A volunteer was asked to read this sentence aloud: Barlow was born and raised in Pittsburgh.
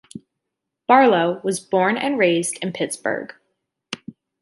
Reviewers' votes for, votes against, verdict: 2, 0, accepted